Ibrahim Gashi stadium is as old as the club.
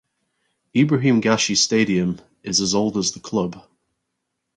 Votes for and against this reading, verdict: 4, 0, accepted